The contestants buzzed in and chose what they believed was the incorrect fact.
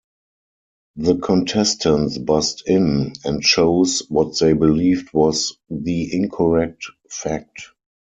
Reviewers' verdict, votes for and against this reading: accepted, 4, 0